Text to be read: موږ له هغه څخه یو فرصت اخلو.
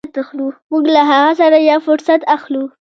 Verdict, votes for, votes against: rejected, 0, 2